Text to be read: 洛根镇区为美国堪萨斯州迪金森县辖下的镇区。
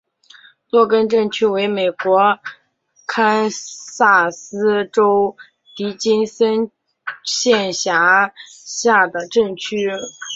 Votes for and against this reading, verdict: 2, 0, accepted